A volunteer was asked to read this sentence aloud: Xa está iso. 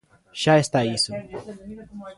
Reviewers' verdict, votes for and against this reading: accepted, 2, 0